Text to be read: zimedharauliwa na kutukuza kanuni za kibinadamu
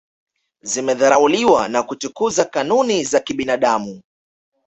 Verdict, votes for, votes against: accepted, 2, 0